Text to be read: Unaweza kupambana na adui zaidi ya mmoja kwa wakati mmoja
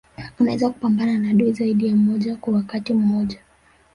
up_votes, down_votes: 1, 2